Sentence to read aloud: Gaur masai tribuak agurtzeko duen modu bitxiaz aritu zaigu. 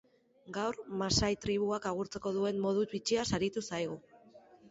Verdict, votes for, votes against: accepted, 2, 0